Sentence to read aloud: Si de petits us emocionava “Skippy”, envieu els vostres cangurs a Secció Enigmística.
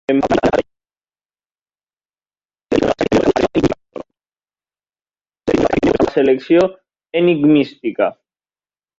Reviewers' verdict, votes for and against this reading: rejected, 0, 2